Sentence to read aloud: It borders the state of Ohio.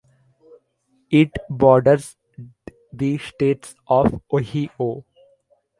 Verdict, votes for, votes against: rejected, 1, 2